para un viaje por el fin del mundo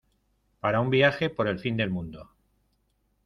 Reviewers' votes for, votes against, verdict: 2, 0, accepted